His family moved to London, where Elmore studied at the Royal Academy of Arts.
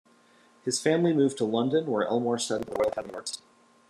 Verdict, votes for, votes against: rejected, 0, 2